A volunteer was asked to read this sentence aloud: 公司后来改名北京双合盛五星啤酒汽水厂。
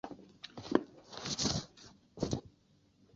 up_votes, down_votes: 0, 2